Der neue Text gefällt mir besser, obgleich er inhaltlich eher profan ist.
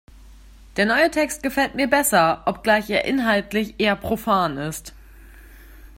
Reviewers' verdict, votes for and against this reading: accepted, 2, 0